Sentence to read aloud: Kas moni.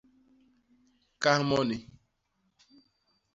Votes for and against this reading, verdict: 0, 2, rejected